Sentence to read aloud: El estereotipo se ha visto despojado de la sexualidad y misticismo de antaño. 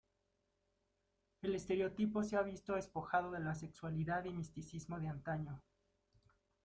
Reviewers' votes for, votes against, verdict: 2, 1, accepted